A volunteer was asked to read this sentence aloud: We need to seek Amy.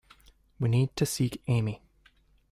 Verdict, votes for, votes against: accepted, 2, 0